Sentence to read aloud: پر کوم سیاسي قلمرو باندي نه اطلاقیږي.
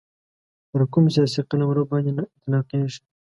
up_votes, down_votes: 1, 2